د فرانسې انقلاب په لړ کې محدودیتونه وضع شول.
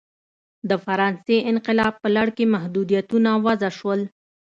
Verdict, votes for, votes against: accepted, 2, 0